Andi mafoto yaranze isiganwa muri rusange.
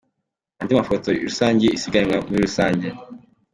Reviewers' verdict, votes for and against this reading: accepted, 2, 0